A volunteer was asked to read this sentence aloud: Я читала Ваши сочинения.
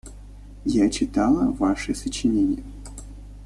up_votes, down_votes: 2, 0